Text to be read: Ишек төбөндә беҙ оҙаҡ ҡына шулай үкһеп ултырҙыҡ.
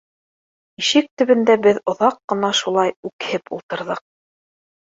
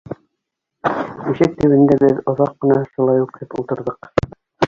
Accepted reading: first